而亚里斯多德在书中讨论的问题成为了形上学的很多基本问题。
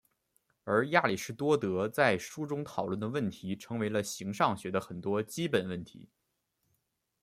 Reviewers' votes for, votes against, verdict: 2, 0, accepted